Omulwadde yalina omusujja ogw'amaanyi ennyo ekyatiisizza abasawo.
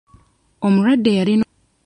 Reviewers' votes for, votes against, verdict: 0, 2, rejected